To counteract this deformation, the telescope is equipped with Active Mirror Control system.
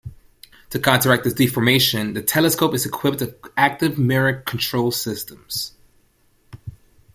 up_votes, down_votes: 0, 2